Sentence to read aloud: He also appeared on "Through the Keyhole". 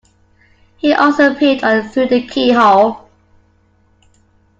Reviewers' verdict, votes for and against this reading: accepted, 2, 0